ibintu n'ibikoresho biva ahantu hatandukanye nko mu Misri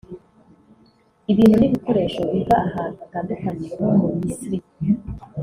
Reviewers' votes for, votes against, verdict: 0, 2, rejected